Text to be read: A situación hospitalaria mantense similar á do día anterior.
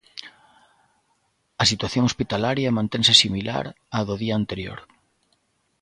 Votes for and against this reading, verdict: 3, 0, accepted